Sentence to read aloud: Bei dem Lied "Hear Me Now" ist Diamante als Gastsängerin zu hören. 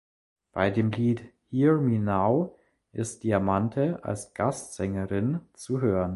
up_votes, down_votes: 2, 0